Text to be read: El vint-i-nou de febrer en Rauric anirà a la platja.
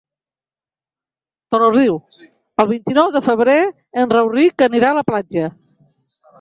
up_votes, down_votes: 0, 2